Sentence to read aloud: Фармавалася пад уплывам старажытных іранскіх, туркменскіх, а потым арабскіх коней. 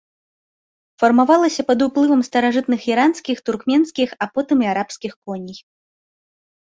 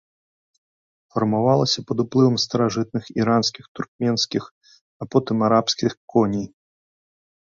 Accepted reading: second